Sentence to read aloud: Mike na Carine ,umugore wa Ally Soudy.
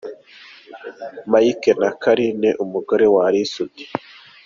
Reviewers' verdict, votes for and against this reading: accepted, 2, 0